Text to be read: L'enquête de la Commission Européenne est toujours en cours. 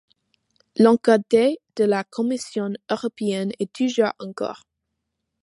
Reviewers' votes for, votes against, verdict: 1, 2, rejected